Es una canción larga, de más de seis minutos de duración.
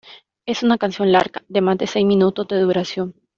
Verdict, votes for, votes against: accepted, 2, 0